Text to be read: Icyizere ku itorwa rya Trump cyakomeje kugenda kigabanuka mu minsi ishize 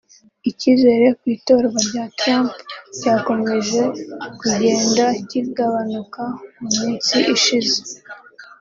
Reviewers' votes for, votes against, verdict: 1, 2, rejected